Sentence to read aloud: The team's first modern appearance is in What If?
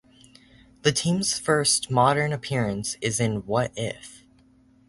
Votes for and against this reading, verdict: 4, 0, accepted